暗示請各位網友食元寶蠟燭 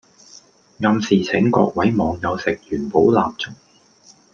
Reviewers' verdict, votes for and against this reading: accepted, 2, 0